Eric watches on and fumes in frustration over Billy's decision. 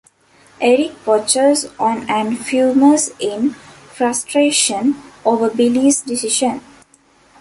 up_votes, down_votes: 2, 0